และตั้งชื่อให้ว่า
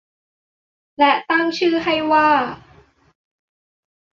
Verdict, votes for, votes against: accepted, 3, 0